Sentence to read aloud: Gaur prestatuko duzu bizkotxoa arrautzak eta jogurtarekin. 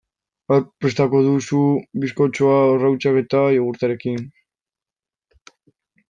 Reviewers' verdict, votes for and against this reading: rejected, 1, 2